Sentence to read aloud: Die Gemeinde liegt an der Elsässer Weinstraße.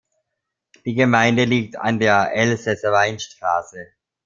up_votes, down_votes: 1, 2